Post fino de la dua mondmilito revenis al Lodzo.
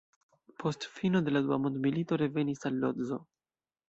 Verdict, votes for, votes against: rejected, 1, 2